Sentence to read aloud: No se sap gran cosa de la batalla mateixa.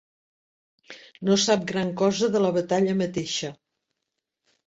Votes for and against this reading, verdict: 1, 2, rejected